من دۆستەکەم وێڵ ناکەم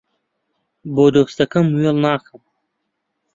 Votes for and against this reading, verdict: 0, 2, rejected